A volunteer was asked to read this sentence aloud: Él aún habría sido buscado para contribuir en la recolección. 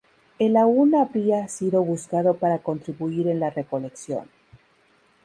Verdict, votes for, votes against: rejected, 0, 2